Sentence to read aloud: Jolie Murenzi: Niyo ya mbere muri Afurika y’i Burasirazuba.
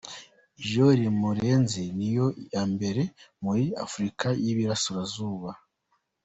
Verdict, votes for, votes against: rejected, 1, 2